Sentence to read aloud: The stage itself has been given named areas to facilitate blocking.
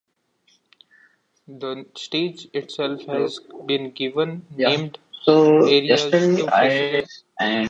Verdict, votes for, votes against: rejected, 0, 2